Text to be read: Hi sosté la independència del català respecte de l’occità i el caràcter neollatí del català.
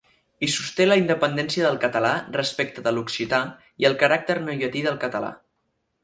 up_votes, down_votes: 4, 0